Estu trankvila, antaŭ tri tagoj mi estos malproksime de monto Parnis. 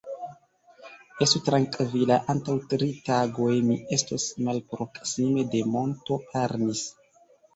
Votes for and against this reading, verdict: 0, 2, rejected